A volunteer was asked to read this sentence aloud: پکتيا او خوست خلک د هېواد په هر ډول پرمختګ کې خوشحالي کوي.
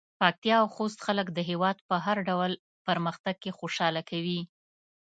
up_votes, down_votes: 0, 2